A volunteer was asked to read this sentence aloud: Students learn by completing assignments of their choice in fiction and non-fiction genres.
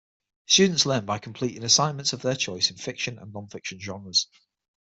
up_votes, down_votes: 6, 0